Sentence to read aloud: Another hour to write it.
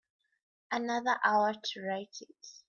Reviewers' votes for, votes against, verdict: 2, 1, accepted